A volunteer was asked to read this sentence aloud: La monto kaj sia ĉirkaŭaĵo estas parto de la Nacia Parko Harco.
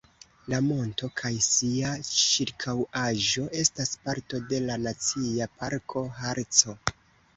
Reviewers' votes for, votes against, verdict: 2, 0, accepted